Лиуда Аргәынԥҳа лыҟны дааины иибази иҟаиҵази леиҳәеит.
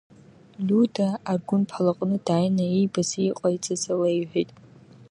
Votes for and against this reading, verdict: 1, 2, rejected